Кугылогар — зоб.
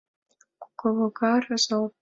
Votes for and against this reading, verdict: 2, 3, rejected